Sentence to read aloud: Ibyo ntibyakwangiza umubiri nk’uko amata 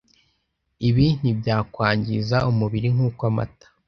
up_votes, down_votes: 0, 2